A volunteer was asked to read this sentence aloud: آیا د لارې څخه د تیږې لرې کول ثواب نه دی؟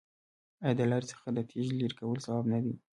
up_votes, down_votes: 2, 1